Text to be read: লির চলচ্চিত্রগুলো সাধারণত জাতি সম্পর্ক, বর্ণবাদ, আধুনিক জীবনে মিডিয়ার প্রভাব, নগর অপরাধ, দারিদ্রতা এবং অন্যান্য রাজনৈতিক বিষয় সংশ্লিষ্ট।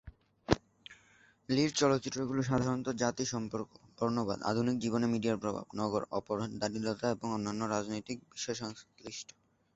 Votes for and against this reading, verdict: 4, 1, accepted